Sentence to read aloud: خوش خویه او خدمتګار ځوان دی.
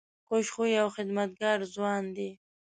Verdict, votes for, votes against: accepted, 2, 0